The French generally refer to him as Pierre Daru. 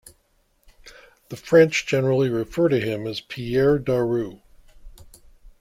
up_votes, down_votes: 2, 0